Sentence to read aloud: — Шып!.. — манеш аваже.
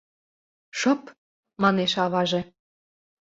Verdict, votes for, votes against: accepted, 2, 0